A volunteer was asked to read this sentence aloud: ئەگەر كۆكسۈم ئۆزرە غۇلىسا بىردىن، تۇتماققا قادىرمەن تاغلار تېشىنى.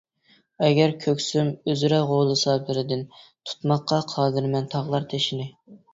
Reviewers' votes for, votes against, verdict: 2, 0, accepted